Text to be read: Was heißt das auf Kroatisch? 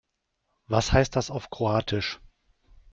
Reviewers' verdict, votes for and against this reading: accepted, 3, 0